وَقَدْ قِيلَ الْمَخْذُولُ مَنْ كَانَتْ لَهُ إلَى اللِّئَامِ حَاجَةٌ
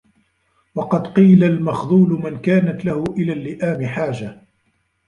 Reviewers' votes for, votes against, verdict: 0, 2, rejected